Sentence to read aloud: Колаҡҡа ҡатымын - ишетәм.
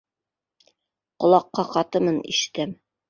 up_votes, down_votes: 1, 2